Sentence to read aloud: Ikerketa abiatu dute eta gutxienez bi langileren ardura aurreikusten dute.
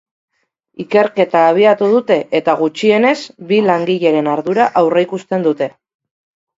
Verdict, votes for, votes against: accepted, 3, 0